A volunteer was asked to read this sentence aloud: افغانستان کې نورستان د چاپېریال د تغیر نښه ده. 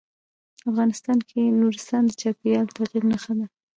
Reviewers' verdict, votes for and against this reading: rejected, 1, 2